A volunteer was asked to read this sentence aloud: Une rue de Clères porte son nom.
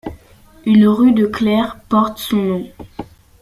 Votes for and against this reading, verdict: 2, 0, accepted